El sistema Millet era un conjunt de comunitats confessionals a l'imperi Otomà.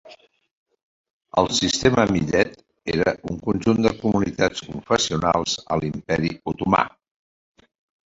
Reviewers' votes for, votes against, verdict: 1, 3, rejected